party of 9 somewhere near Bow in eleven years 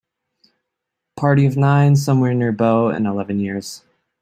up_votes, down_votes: 0, 2